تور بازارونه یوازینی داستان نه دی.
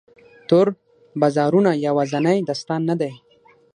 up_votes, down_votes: 3, 6